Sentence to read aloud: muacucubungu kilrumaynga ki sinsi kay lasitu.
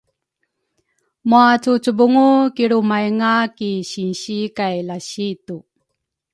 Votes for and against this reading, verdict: 2, 0, accepted